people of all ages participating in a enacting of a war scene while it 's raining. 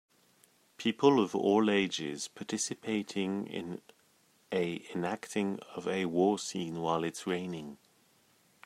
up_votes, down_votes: 2, 0